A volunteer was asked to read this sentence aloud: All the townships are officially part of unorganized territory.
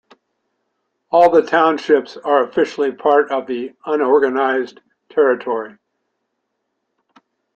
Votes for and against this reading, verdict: 0, 2, rejected